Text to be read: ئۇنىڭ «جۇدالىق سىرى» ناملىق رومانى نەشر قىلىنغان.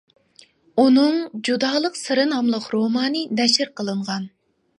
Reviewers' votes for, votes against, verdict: 2, 0, accepted